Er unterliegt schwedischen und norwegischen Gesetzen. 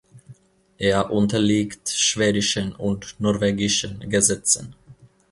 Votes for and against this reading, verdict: 2, 0, accepted